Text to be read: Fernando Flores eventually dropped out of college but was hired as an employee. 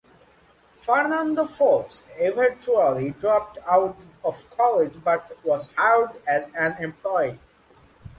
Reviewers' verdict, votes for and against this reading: accepted, 2, 0